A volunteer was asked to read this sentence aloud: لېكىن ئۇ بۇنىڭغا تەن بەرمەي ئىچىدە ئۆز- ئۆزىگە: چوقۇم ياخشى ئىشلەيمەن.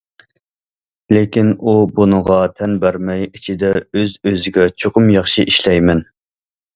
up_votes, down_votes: 2, 0